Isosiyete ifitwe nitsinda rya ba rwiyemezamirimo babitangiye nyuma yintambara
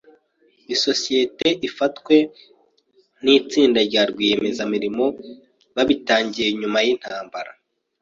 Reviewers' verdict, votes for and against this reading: rejected, 1, 2